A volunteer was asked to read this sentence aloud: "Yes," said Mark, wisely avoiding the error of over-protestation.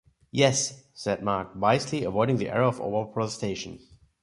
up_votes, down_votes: 0, 2